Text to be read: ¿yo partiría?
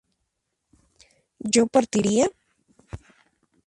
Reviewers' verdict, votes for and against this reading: accepted, 2, 0